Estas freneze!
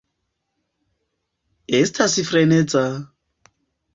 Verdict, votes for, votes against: rejected, 0, 2